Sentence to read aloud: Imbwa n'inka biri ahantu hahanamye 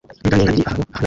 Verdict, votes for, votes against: rejected, 0, 2